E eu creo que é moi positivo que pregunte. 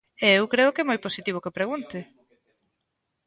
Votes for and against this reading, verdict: 1, 2, rejected